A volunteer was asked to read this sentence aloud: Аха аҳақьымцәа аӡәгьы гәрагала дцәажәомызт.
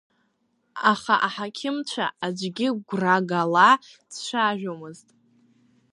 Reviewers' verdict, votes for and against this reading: rejected, 1, 2